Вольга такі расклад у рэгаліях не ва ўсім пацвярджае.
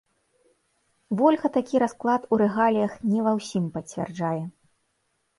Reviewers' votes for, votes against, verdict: 2, 0, accepted